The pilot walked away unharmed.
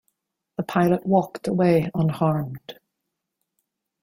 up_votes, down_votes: 2, 0